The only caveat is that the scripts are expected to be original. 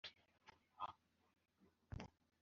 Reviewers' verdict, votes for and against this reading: rejected, 0, 2